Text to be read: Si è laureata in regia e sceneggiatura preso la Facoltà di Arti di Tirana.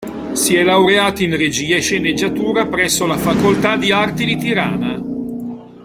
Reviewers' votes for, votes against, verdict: 0, 2, rejected